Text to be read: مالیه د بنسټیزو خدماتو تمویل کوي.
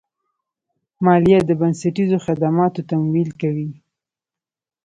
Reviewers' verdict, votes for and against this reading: rejected, 2, 3